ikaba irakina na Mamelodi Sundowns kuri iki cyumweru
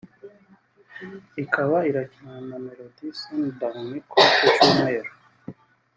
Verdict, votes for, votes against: rejected, 1, 2